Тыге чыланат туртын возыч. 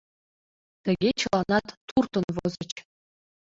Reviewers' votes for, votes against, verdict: 2, 1, accepted